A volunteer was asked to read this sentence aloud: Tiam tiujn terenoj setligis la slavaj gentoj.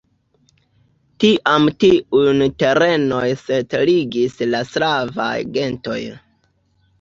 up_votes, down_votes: 1, 2